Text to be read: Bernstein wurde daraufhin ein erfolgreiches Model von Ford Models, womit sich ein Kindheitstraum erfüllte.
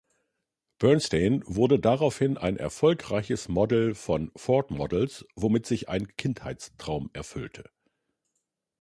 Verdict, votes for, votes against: rejected, 1, 2